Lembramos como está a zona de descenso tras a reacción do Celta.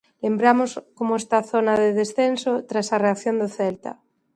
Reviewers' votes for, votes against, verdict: 2, 0, accepted